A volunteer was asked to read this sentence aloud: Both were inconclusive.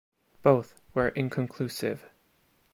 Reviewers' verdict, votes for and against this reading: accepted, 2, 0